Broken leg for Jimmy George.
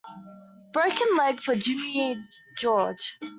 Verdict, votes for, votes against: accepted, 2, 0